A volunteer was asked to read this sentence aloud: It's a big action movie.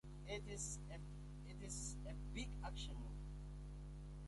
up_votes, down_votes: 0, 2